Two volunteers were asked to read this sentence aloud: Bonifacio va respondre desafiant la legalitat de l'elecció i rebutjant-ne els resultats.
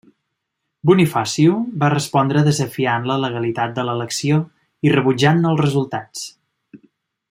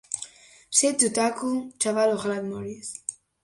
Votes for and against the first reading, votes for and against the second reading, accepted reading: 3, 0, 0, 2, first